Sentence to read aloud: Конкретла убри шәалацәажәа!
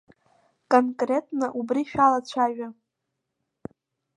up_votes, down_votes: 2, 0